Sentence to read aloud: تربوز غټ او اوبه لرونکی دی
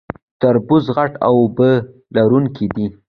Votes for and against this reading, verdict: 2, 0, accepted